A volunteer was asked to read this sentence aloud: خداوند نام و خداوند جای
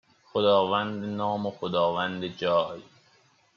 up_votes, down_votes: 2, 0